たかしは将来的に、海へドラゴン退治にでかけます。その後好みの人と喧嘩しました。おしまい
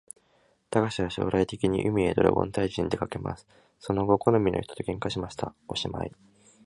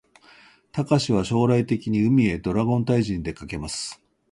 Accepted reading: first